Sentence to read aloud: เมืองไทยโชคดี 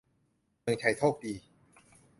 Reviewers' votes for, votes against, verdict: 2, 0, accepted